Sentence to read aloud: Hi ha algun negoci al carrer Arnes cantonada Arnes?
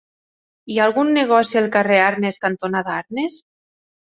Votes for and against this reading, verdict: 3, 0, accepted